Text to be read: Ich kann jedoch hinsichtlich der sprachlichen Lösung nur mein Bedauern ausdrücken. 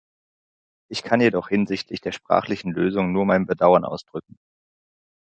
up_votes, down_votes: 2, 0